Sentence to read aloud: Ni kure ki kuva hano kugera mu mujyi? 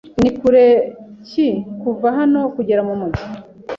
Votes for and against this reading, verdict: 2, 0, accepted